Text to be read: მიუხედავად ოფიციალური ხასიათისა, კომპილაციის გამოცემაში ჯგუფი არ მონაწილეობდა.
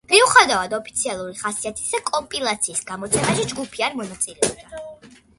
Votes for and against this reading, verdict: 2, 1, accepted